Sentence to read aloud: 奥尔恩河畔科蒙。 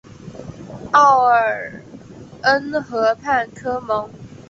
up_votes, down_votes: 0, 2